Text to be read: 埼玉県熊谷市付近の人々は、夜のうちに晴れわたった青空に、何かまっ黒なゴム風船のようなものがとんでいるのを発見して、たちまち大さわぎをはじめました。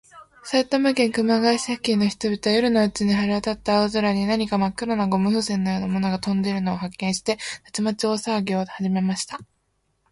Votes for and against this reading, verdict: 3, 0, accepted